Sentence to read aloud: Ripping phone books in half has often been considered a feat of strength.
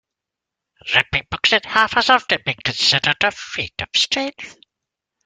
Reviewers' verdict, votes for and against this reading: rejected, 1, 2